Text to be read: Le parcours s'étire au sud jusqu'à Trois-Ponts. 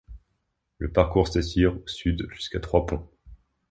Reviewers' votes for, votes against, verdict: 1, 2, rejected